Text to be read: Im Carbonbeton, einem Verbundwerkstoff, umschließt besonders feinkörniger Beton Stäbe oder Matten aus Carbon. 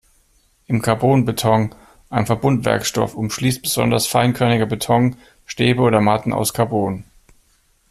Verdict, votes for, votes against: accepted, 2, 0